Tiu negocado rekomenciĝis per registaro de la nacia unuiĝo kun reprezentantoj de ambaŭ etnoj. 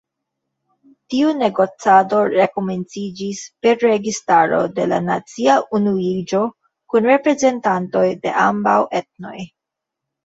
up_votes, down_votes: 1, 2